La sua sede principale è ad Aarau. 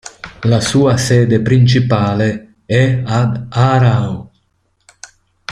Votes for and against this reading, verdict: 0, 2, rejected